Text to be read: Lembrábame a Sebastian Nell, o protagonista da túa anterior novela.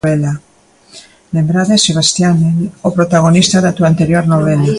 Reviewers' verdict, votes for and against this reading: rejected, 0, 2